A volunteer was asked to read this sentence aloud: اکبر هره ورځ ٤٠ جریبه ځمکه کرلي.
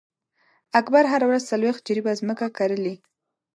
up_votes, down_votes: 0, 2